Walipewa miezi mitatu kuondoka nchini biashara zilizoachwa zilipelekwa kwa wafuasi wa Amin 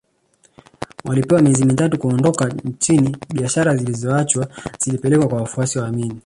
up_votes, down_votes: 1, 2